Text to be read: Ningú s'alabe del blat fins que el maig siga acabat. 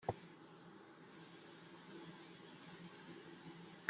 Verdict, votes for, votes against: rejected, 0, 2